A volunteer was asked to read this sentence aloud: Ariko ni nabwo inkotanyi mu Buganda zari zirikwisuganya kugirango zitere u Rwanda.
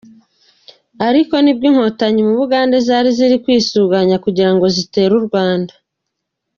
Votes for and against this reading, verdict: 2, 0, accepted